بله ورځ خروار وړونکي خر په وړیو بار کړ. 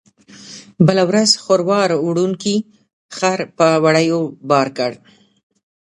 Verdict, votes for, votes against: rejected, 0, 2